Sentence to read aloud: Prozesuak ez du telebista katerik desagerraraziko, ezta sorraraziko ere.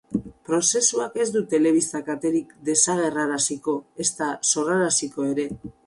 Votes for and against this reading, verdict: 4, 2, accepted